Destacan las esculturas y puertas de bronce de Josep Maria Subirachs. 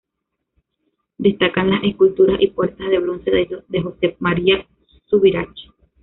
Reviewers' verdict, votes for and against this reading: rejected, 1, 2